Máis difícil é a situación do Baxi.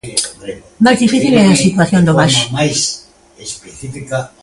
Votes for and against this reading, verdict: 0, 2, rejected